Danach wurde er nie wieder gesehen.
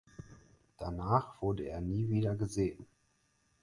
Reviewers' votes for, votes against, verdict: 4, 0, accepted